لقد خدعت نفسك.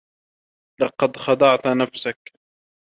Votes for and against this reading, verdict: 2, 0, accepted